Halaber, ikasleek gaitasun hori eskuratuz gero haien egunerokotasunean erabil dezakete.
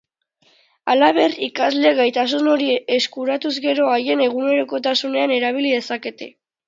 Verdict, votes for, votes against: rejected, 0, 2